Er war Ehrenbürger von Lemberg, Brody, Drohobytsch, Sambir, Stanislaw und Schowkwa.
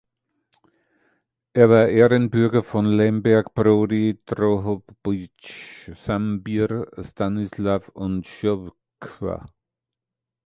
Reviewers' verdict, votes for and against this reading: rejected, 1, 2